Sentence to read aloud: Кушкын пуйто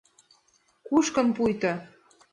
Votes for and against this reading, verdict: 2, 0, accepted